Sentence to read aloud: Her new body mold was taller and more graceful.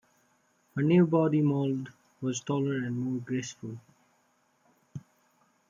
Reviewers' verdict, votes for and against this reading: accepted, 2, 0